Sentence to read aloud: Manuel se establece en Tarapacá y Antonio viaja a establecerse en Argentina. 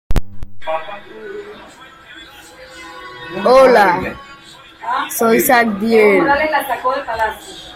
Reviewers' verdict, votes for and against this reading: rejected, 0, 2